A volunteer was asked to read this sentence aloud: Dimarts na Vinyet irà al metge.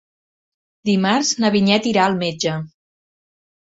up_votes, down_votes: 3, 0